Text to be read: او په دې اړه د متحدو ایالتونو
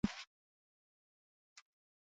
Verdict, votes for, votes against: rejected, 1, 2